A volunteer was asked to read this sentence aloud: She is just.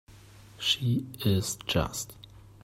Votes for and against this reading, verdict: 2, 1, accepted